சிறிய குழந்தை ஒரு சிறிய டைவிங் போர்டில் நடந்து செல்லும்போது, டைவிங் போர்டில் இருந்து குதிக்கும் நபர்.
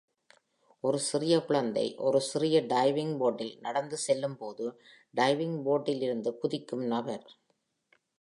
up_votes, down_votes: 1, 2